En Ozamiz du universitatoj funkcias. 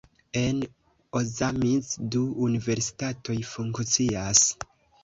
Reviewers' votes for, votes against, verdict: 2, 1, accepted